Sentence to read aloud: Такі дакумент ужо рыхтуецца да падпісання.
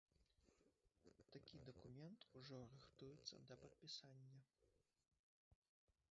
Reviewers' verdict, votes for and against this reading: rejected, 0, 3